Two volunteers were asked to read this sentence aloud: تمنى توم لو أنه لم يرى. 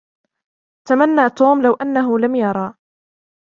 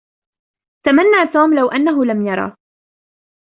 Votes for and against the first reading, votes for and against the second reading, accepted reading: 2, 0, 1, 2, first